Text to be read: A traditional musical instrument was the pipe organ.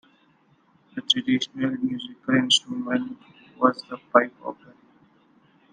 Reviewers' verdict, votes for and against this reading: accepted, 2, 1